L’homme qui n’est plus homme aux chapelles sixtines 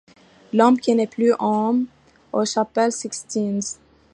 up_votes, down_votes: 0, 2